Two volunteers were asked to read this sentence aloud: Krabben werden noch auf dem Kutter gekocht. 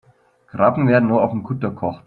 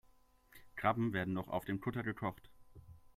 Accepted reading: second